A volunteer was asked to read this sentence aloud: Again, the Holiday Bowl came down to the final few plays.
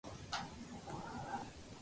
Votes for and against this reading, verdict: 0, 2, rejected